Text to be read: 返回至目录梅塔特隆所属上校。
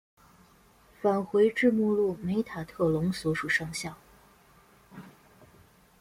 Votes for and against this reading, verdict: 2, 0, accepted